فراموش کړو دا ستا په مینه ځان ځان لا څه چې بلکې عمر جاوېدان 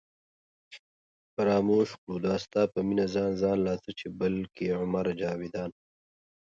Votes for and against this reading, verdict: 2, 0, accepted